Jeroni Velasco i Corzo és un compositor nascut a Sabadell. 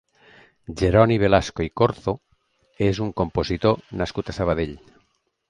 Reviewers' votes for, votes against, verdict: 2, 0, accepted